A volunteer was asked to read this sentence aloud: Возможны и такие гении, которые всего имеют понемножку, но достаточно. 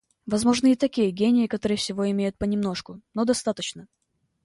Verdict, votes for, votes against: accepted, 2, 0